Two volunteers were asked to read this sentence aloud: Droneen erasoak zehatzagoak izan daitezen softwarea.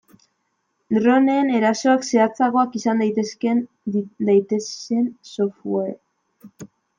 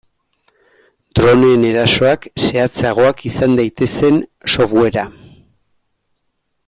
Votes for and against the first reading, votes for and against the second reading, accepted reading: 0, 2, 2, 0, second